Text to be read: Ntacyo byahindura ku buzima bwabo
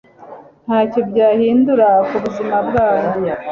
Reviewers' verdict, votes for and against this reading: accepted, 2, 0